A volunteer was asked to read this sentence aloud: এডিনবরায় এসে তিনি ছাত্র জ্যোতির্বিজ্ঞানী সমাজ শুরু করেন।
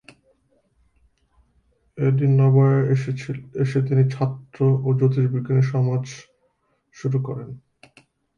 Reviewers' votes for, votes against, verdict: 0, 2, rejected